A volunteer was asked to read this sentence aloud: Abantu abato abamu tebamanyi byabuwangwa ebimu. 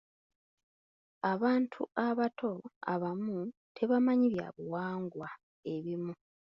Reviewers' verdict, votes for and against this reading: accepted, 2, 0